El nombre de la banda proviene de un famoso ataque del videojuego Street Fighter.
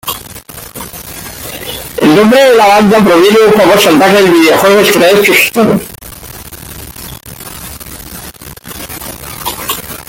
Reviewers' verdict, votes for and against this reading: rejected, 0, 2